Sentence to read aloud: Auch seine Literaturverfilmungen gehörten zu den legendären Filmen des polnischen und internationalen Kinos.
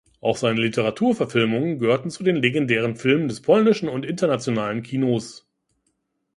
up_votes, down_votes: 2, 0